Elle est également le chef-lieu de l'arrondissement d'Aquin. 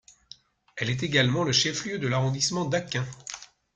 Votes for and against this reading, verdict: 2, 0, accepted